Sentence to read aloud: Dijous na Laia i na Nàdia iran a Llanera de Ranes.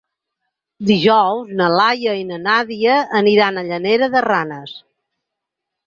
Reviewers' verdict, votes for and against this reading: rejected, 2, 4